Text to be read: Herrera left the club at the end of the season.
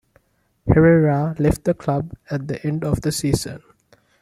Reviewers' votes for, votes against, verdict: 2, 0, accepted